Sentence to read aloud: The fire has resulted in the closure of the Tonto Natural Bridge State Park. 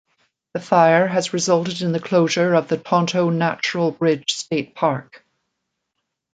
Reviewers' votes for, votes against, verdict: 2, 0, accepted